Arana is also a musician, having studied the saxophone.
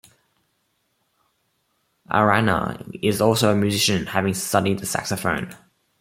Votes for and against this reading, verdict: 2, 0, accepted